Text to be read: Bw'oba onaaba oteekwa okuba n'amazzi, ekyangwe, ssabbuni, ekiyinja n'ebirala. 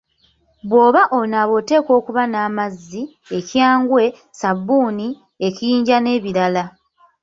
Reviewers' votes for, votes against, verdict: 2, 3, rejected